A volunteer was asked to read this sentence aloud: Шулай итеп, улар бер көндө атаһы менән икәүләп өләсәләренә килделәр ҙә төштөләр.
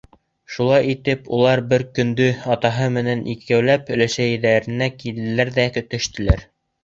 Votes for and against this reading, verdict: 1, 2, rejected